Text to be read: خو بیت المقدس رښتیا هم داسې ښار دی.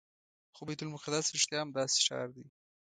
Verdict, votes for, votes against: accepted, 2, 0